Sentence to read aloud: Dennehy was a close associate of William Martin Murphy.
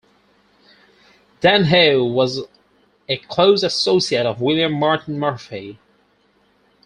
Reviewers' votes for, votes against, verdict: 2, 4, rejected